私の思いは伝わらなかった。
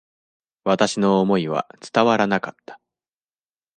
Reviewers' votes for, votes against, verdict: 3, 0, accepted